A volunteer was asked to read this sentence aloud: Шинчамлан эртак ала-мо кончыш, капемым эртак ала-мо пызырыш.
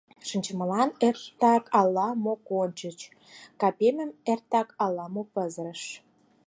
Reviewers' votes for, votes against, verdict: 2, 4, rejected